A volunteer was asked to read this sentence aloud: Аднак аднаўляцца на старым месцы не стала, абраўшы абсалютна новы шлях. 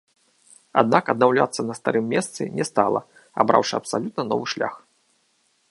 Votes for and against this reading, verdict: 2, 0, accepted